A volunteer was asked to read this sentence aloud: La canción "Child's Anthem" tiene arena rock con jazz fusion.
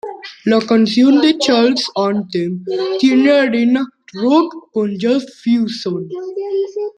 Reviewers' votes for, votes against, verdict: 0, 2, rejected